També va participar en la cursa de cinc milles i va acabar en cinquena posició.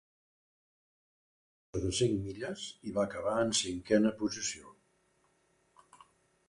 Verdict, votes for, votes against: rejected, 0, 2